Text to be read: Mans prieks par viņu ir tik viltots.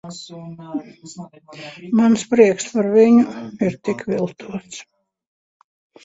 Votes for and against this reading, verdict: 0, 2, rejected